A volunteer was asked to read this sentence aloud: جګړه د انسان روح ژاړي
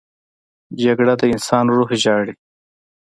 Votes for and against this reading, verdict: 2, 0, accepted